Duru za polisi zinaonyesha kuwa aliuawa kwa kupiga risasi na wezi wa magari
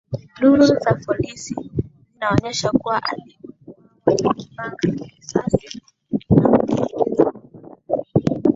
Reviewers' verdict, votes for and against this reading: rejected, 1, 3